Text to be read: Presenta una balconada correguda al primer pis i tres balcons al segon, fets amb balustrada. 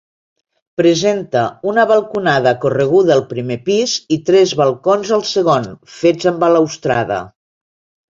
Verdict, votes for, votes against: rejected, 1, 2